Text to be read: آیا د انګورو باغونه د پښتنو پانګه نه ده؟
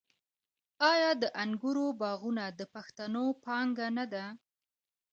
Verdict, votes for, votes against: accepted, 2, 0